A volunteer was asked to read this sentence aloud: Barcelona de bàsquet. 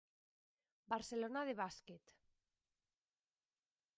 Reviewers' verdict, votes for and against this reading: accepted, 2, 1